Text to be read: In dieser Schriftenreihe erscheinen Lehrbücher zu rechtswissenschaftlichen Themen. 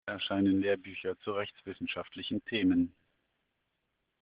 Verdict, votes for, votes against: rejected, 0, 2